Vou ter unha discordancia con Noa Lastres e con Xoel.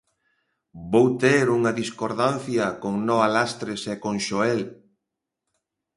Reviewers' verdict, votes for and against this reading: accepted, 2, 0